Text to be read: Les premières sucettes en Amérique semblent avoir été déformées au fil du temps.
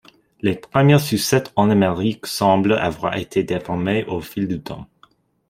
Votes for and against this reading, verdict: 2, 0, accepted